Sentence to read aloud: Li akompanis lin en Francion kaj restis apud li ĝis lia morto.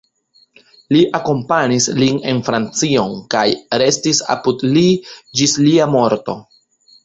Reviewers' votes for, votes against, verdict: 2, 0, accepted